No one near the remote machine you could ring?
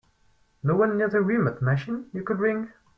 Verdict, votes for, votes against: rejected, 0, 4